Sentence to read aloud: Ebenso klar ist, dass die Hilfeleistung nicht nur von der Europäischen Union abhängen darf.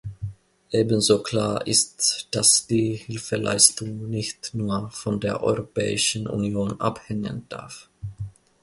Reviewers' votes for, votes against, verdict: 2, 0, accepted